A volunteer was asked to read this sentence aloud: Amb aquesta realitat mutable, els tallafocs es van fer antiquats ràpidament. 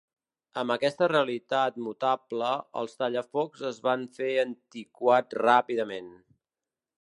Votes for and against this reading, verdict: 0, 2, rejected